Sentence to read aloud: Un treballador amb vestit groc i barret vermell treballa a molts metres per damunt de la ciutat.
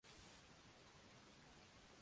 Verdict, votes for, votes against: rejected, 0, 2